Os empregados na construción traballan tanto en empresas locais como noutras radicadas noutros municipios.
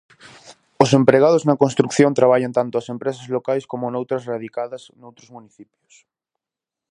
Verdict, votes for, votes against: rejected, 0, 4